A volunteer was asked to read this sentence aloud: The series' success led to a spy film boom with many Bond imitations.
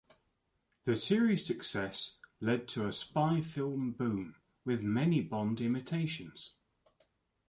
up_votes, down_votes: 2, 0